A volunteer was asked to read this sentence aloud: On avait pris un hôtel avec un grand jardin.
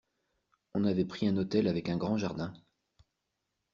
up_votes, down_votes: 2, 0